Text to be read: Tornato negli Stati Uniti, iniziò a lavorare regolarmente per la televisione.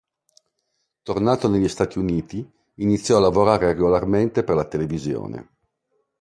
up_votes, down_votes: 2, 0